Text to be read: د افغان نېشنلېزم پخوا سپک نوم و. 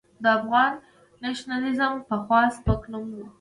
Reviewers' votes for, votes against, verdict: 0, 2, rejected